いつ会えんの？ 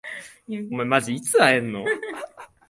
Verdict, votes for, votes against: rejected, 1, 2